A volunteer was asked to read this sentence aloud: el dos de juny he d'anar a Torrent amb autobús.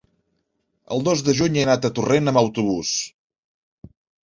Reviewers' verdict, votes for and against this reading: rejected, 0, 2